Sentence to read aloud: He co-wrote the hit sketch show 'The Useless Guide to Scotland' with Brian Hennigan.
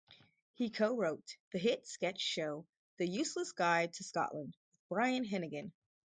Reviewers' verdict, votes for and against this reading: accepted, 4, 0